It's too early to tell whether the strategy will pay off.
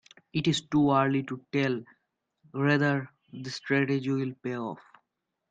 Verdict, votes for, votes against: rejected, 0, 2